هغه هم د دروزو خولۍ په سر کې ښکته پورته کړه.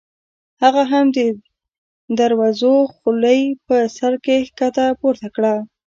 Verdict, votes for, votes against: rejected, 1, 2